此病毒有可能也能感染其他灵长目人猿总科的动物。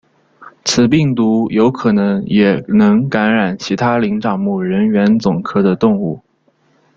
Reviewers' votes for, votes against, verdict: 2, 0, accepted